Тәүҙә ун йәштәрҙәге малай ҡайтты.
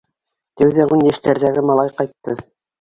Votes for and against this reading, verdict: 3, 2, accepted